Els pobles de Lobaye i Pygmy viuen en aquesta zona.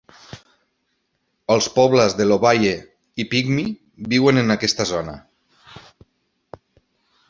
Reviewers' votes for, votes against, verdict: 2, 0, accepted